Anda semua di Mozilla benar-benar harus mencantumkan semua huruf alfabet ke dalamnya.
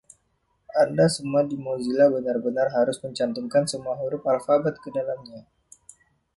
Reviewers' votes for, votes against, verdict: 2, 0, accepted